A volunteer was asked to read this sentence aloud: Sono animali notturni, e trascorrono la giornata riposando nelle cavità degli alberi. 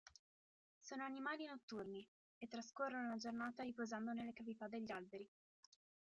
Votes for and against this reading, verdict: 2, 1, accepted